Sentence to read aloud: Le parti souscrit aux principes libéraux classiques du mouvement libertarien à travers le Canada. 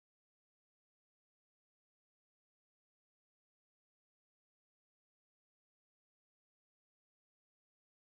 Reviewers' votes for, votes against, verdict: 0, 2, rejected